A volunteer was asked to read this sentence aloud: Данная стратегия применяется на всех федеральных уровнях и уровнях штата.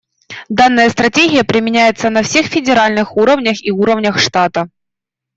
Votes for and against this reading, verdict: 2, 1, accepted